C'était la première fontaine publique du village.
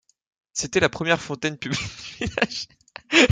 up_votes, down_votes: 0, 2